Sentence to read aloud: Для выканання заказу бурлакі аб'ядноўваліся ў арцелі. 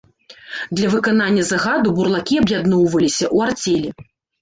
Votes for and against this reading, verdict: 1, 2, rejected